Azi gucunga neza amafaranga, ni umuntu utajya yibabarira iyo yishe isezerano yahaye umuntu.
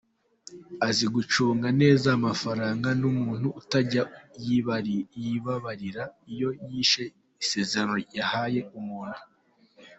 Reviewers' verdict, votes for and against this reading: rejected, 0, 4